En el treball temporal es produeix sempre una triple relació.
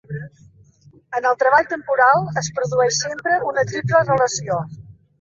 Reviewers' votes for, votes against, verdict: 2, 1, accepted